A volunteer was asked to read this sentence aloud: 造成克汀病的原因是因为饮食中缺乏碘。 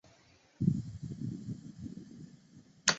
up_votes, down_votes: 0, 2